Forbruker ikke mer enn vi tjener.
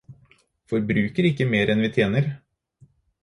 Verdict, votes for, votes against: accepted, 4, 0